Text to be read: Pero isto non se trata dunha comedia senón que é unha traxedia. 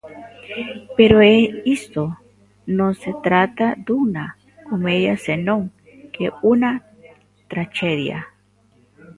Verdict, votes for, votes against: rejected, 0, 2